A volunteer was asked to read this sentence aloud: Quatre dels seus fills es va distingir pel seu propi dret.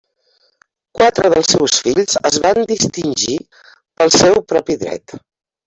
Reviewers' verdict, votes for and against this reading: rejected, 0, 2